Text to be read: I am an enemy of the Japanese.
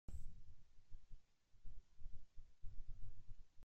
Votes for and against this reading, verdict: 0, 2, rejected